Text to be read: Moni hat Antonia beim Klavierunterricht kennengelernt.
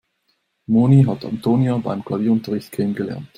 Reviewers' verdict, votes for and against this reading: accepted, 2, 0